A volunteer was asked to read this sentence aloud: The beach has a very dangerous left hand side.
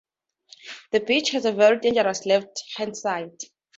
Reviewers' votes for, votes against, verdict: 2, 0, accepted